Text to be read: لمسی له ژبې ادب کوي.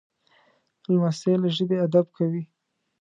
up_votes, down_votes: 3, 0